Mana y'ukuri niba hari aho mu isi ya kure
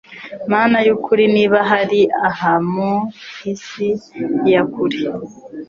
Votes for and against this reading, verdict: 1, 2, rejected